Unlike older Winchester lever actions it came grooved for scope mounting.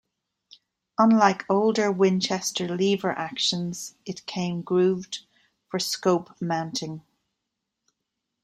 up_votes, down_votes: 2, 1